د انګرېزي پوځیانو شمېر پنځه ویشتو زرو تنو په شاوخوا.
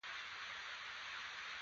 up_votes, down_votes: 0, 2